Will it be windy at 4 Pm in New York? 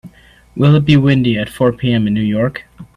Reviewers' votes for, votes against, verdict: 0, 2, rejected